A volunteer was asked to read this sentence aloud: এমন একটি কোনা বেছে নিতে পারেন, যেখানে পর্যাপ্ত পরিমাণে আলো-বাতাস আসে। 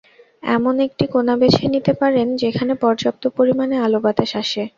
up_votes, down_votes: 2, 0